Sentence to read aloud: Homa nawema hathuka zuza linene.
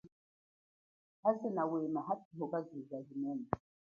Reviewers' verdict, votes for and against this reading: accepted, 3, 0